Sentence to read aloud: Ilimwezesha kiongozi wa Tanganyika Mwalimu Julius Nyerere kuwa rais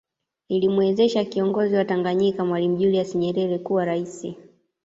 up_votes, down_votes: 2, 0